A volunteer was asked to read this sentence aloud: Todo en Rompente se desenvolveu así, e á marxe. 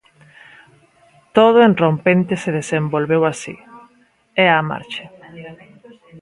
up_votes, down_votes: 1, 2